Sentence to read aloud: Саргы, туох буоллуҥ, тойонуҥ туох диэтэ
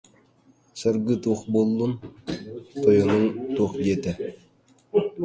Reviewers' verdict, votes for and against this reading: rejected, 0, 2